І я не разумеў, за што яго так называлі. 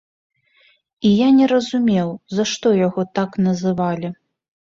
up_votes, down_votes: 3, 0